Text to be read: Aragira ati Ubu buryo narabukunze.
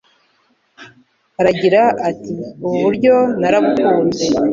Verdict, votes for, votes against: accepted, 2, 0